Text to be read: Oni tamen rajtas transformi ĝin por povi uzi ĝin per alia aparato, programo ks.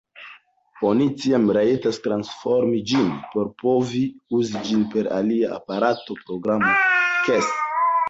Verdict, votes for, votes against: rejected, 0, 2